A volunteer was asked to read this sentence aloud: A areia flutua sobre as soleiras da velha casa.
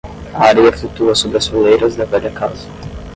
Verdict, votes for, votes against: rejected, 5, 5